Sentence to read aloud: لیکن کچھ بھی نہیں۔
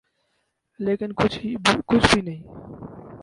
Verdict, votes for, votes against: rejected, 0, 4